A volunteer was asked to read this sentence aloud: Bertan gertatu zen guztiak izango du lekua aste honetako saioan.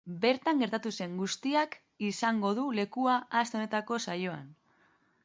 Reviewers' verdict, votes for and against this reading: accepted, 2, 0